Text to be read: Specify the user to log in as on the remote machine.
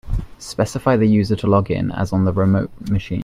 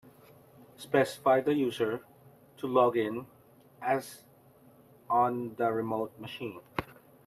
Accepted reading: second